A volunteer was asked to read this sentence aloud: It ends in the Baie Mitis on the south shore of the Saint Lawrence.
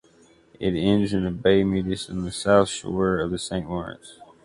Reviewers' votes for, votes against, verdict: 2, 0, accepted